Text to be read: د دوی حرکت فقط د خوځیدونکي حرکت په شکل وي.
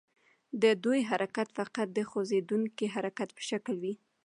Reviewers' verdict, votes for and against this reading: accepted, 2, 0